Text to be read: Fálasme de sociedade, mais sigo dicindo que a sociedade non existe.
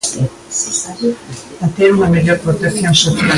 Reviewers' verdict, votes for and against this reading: rejected, 1, 2